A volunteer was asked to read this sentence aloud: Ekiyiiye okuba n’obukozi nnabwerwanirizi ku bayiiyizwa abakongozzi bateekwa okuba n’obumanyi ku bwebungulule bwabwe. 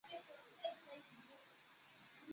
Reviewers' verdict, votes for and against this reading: rejected, 0, 2